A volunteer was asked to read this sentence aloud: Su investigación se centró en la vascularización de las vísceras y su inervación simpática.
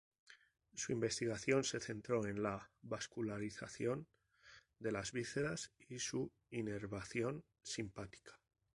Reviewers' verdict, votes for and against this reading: rejected, 2, 2